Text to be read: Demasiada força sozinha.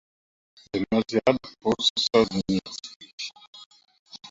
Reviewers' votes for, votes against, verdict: 0, 2, rejected